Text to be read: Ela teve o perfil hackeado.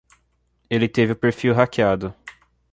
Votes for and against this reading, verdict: 0, 2, rejected